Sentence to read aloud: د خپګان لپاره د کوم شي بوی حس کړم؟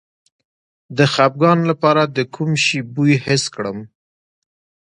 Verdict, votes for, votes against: rejected, 1, 2